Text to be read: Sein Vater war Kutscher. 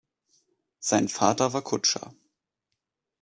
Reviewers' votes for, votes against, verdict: 2, 0, accepted